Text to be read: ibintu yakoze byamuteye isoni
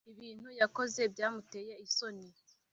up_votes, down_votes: 2, 0